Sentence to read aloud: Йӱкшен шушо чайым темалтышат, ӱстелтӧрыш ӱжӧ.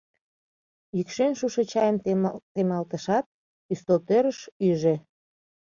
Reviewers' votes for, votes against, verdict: 0, 2, rejected